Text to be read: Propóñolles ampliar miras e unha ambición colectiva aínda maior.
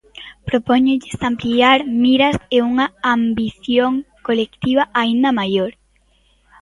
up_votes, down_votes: 2, 0